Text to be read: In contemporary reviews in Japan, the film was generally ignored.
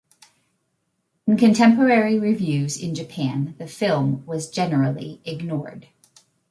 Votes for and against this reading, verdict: 2, 0, accepted